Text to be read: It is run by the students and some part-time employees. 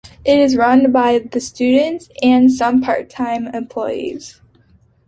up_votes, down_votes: 2, 0